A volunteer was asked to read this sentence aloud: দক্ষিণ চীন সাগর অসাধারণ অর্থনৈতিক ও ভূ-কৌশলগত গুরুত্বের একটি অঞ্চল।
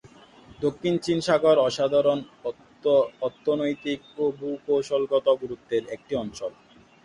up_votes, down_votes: 1, 2